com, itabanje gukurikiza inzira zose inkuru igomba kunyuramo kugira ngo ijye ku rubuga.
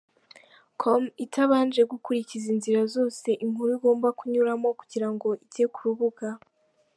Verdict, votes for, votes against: accepted, 2, 0